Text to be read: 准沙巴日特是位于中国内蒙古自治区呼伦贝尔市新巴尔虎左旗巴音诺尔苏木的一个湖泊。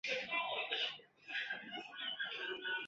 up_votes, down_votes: 1, 2